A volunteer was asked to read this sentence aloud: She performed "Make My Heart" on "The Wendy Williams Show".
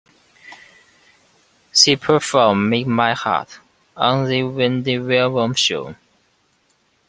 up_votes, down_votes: 2, 0